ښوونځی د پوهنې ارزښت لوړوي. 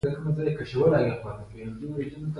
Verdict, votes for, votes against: rejected, 1, 2